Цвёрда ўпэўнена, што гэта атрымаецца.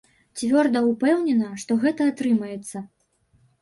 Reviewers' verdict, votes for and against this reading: rejected, 0, 2